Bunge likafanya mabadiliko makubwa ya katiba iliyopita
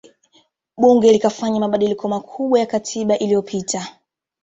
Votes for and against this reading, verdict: 2, 0, accepted